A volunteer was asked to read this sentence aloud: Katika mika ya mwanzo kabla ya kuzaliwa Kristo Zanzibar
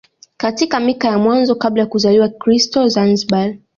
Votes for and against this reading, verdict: 1, 2, rejected